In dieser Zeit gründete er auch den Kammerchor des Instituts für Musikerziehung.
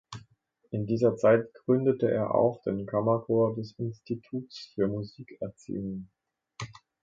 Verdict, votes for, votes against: accepted, 2, 1